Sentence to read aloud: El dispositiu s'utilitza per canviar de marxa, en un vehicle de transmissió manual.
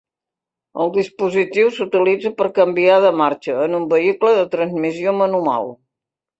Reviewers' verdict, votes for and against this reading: accepted, 3, 0